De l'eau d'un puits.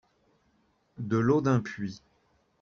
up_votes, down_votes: 2, 0